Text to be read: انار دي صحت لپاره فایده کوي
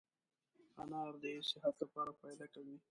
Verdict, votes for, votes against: accepted, 2, 1